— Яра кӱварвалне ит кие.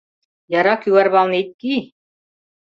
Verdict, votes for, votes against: rejected, 0, 2